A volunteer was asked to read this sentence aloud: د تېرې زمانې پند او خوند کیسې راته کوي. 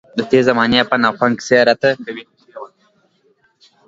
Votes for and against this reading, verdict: 2, 0, accepted